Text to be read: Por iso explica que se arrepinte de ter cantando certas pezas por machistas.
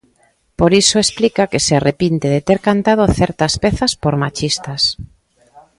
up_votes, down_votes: 2, 0